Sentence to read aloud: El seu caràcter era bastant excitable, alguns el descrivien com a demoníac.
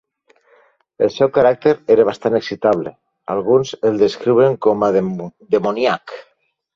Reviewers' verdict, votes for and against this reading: rejected, 0, 2